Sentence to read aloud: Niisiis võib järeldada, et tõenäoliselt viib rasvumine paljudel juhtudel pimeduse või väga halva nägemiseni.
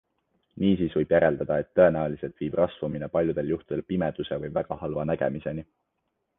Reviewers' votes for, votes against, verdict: 3, 1, accepted